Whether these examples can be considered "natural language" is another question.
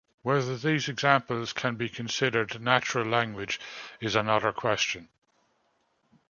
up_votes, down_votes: 2, 0